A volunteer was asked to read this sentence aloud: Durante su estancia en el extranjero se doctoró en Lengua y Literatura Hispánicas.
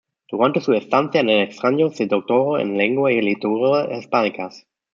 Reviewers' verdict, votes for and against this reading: rejected, 0, 2